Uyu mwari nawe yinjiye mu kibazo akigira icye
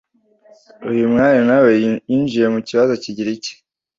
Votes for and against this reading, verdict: 1, 2, rejected